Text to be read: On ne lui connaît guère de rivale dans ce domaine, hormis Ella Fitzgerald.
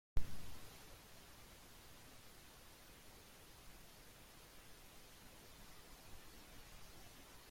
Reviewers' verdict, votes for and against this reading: rejected, 0, 2